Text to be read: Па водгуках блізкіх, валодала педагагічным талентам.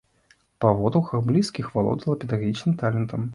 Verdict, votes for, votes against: accepted, 2, 0